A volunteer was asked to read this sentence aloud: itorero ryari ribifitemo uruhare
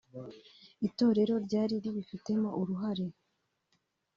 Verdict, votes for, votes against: accepted, 3, 0